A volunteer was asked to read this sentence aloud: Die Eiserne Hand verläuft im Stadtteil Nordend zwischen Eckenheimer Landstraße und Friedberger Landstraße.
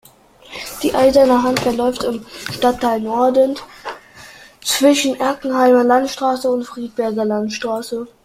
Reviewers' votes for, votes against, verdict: 0, 2, rejected